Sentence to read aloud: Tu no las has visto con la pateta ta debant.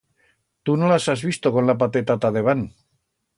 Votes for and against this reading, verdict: 2, 0, accepted